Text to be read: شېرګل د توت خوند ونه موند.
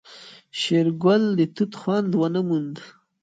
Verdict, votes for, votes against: rejected, 1, 2